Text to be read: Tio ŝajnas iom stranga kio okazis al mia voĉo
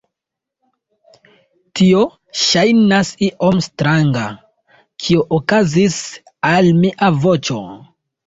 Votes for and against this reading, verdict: 1, 2, rejected